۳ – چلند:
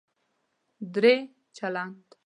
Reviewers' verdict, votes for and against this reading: rejected, 0, 2